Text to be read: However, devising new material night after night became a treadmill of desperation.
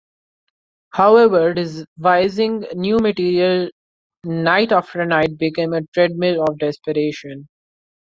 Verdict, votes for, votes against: rejected, 1, 2